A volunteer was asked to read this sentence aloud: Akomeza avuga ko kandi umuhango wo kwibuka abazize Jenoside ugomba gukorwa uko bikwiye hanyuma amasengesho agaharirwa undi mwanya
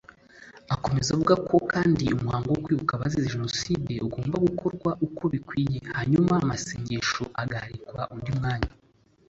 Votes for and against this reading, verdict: 2, 1, accepted